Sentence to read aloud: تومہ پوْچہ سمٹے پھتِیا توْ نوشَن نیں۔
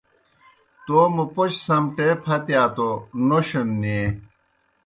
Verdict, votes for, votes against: accepted, 2, 0